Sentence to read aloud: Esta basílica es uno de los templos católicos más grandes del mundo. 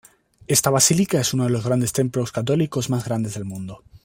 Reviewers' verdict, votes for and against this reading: rejected, 0, 2